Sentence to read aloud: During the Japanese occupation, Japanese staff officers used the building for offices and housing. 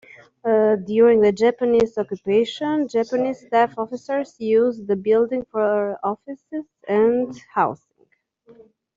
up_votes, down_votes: 2, 1